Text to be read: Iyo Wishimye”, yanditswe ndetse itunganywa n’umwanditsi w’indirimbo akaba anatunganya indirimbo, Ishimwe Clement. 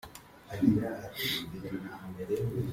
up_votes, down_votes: 0, 3